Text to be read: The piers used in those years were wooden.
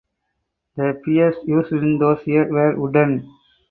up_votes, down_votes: 4, 2